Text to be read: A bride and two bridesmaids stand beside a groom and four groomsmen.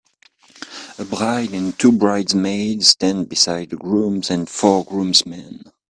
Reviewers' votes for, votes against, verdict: 0, 2, rejected